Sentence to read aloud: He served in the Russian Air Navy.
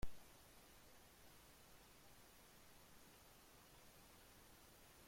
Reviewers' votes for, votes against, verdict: 0, 2, rejected